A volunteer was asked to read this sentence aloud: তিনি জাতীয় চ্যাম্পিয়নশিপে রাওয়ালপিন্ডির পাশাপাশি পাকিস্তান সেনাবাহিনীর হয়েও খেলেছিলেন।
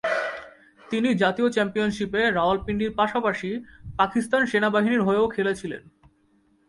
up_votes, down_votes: 5, 0